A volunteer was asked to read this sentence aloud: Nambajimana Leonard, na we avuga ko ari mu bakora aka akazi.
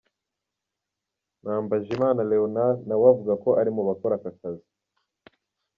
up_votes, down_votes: 1, 2